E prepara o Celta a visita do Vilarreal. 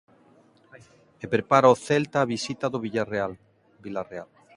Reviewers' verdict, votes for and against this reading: rejected, 0, 2